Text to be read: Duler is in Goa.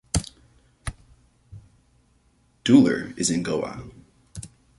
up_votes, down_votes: 2, 0